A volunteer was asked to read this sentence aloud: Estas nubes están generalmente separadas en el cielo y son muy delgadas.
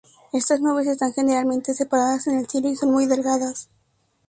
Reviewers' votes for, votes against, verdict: 2, 0, accepted